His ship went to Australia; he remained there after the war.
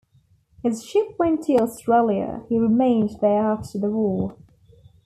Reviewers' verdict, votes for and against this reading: accepted, 2, 0